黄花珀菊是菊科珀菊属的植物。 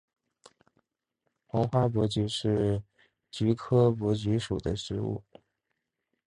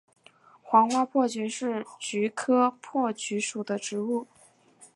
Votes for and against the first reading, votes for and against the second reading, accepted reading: 1, 2, 4, 0, second